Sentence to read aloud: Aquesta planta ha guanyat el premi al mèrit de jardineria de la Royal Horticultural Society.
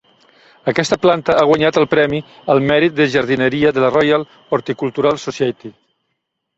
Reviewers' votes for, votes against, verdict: 3, 0, accepted